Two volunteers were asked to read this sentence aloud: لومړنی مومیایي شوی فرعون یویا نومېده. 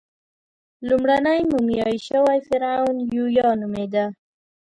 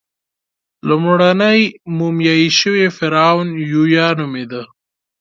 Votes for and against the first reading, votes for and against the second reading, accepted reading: 1, 2, 2, 0, second